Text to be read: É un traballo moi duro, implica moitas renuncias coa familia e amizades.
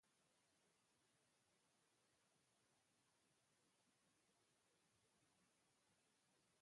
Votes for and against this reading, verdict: 1, 16, rejected